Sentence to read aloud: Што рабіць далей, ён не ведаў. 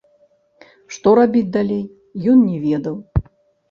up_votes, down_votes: 0, 2